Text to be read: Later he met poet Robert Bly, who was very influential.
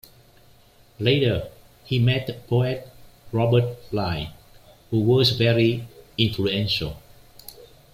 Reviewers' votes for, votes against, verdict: 2, 0, accepted